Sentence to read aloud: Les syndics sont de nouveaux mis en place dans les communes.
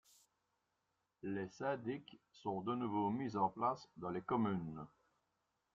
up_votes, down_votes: 0, 2